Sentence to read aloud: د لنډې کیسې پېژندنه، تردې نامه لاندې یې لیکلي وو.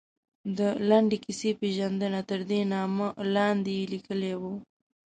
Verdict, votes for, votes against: rejected, 1, 2